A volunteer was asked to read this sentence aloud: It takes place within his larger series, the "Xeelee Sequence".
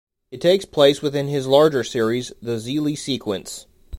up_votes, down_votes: 2, 0